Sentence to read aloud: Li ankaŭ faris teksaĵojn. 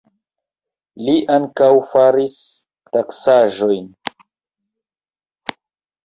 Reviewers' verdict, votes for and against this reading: rejected, 1, 2